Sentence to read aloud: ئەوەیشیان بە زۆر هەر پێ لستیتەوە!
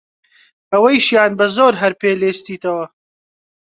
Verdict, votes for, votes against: rejected, 2, 3